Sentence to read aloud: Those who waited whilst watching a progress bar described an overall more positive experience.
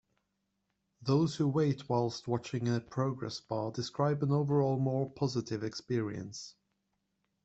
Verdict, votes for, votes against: rejected, 1, 2